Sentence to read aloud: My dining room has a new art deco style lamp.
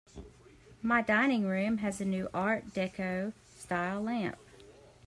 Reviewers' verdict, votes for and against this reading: accepted, 2, 0